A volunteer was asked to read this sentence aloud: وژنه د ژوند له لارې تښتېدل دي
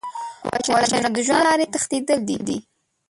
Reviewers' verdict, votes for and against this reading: rejected, 0, 3